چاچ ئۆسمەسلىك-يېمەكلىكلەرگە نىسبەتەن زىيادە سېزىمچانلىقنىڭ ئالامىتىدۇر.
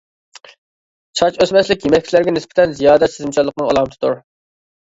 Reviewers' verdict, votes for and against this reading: accepted, 2, 1